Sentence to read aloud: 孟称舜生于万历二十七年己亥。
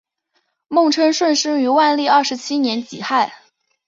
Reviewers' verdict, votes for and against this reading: accepted, 2, 0